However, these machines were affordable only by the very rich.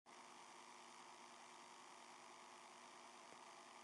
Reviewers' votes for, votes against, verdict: 0, 2, rejected